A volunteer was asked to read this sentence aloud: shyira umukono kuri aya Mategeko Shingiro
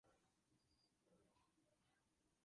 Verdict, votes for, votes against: rejected, 0, 2